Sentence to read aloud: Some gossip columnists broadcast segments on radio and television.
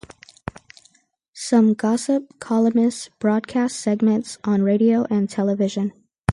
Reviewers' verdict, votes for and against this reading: rejected, 0, 2